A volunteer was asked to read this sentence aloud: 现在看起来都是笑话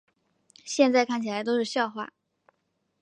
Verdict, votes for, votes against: accepted, 2, 0